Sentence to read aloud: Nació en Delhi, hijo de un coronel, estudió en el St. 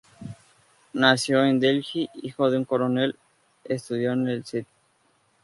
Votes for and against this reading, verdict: 2, 2, rejected